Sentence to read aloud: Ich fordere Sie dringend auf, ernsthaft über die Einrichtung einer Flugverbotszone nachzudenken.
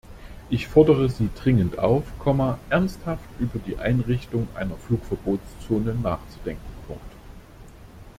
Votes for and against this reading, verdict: 0, 2, rejected